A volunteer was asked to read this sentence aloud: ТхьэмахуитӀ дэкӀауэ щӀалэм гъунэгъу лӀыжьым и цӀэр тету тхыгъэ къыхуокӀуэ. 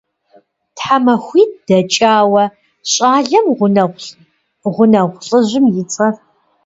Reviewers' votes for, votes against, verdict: 1, 2, rejected